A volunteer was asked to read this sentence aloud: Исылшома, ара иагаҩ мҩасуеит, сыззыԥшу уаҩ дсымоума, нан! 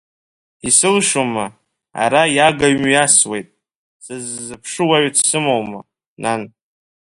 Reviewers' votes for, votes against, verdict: 1, 2, rejected